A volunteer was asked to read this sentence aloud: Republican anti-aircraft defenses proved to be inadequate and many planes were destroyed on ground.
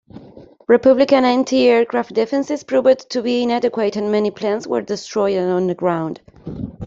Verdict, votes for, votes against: rejected, 0, 2